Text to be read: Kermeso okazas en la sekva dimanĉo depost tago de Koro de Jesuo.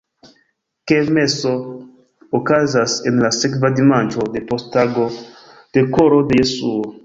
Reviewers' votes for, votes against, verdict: 0, 2, rejected